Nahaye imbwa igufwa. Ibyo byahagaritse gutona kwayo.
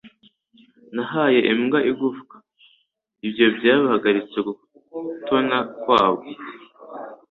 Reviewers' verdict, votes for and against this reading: accepted, 2, 0